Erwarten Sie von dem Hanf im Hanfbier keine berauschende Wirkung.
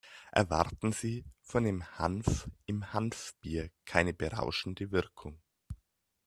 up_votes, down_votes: 0, 2